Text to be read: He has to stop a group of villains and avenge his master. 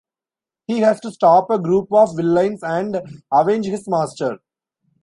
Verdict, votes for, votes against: rejected, 1, 2